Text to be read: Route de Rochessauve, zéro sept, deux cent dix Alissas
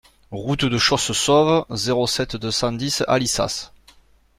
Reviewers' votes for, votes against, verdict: 0, 2, rejected